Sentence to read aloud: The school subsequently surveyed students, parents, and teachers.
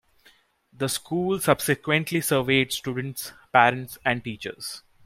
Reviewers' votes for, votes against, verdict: 2, 0, accepted